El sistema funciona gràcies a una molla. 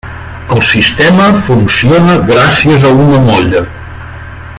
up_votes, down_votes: 3, 0